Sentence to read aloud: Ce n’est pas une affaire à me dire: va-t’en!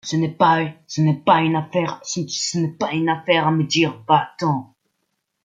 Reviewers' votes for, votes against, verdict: 0, 2, rejected